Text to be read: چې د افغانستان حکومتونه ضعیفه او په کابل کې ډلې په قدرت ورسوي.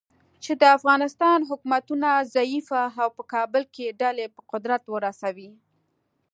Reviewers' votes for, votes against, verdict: 2, 0, accepted